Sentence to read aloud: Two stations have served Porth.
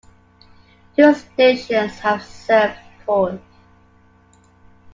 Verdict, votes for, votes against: accepted, 2, 0